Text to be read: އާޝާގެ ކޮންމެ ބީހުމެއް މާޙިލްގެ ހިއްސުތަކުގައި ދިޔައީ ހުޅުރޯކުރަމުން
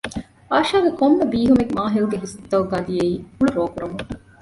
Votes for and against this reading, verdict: 1, 2, rejected